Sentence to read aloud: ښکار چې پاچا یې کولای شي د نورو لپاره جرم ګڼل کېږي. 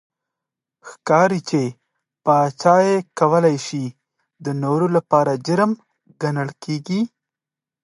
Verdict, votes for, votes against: accepted, 2, 0